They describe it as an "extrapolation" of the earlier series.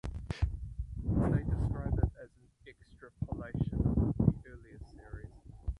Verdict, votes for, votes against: rejected, 0, 4